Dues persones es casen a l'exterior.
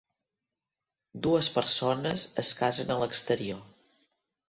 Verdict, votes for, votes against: accepted, 3, 0